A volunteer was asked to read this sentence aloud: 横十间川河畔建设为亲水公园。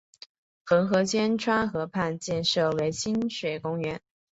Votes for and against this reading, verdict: 3, 0, accepted